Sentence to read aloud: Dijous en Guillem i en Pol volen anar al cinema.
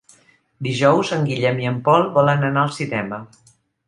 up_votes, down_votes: 3, 0